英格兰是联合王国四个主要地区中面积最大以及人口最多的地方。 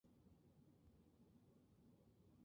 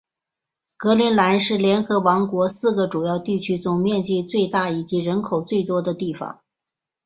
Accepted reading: second